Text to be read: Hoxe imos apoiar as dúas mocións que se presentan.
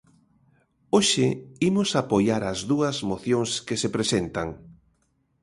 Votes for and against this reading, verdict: 2, 0, accepted